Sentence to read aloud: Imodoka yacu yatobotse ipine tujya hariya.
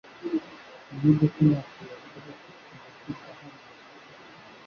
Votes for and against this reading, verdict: 0, 2, rejected